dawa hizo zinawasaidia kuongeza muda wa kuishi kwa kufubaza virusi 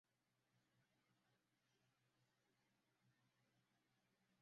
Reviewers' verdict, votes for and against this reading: rejected, 0, 2